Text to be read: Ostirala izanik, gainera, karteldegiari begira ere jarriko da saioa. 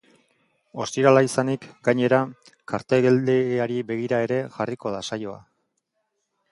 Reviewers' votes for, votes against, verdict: 3, 0, accepted